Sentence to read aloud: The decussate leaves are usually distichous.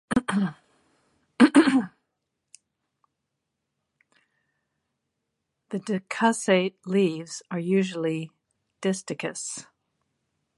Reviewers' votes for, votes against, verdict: 1, 2, rejected